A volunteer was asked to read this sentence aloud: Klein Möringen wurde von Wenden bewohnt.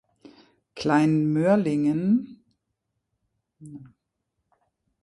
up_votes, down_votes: 0, 2